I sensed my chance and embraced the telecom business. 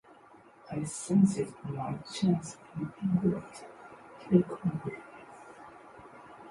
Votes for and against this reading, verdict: 0, 3, rejected